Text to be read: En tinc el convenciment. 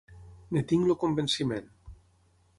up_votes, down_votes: 6, 9